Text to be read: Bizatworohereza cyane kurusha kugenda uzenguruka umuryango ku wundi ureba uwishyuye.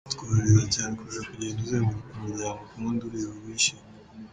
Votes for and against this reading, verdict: 0, 3, rejected